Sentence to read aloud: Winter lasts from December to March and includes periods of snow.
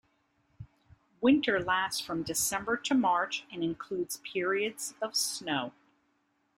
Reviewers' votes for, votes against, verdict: 2, 1, accepted